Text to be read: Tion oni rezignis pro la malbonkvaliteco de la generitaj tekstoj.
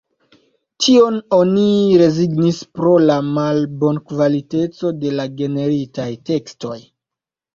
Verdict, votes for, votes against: accepted, 2, 0